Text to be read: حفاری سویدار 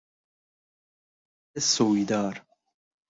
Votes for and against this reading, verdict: 0, 2, rejected